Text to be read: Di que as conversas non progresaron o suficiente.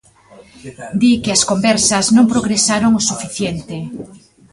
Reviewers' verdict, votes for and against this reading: accepted, 2, 1